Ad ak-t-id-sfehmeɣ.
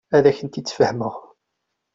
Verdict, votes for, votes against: accepted, 2, 0